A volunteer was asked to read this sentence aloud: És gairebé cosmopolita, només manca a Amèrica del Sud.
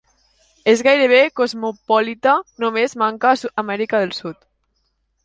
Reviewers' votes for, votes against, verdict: 2, 0, accepted